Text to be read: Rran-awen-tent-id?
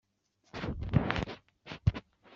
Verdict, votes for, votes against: rejected, 1, 2